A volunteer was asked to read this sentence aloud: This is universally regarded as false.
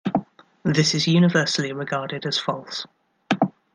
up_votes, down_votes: 2, 0